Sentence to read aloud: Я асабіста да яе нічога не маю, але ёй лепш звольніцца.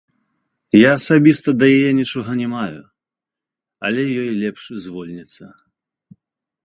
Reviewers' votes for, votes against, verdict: 2, 0, accepted